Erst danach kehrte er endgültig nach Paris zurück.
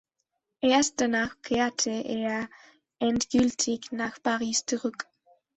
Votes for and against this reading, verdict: 2, 0, accepted